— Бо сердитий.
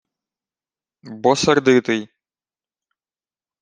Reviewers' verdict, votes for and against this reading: accepted, 2, 0